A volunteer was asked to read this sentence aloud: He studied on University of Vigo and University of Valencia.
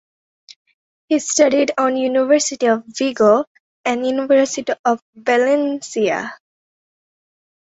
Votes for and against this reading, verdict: 2, 0, accepted